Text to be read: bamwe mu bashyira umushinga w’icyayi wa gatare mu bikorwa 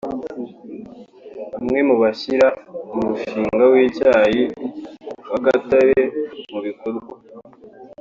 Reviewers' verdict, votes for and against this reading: accepted, 4, 0